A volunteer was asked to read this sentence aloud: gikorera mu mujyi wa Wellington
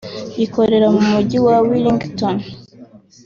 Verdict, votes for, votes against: accepted, 2, 0